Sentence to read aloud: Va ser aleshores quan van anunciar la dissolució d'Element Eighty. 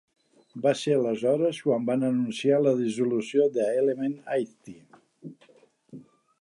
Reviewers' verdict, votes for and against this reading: accepted, 2, 0